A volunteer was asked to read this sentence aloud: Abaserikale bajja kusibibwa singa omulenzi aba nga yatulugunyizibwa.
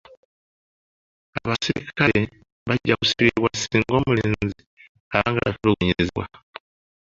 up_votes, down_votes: 0, 2